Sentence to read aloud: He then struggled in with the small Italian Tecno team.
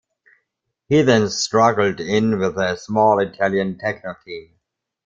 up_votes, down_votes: 2, 0